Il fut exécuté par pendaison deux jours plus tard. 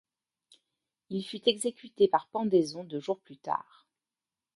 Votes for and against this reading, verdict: 2, 1, accepted